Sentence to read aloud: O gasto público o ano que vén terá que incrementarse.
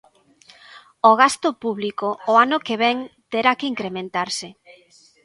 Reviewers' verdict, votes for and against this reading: accepted, 2, 0